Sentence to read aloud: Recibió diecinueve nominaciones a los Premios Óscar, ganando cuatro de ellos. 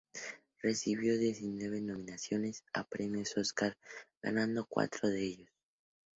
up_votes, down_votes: 2, 0